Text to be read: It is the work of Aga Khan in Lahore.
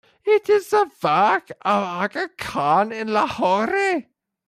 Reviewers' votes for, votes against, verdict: 0, 2, rejected